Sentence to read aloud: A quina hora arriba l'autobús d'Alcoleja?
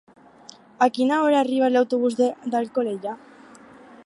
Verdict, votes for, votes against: rejected, 0, 4